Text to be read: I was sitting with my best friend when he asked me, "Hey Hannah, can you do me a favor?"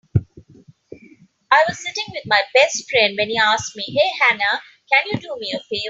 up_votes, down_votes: 1, 2